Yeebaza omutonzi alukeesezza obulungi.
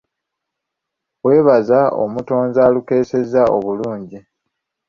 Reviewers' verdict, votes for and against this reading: accepted, 2, 1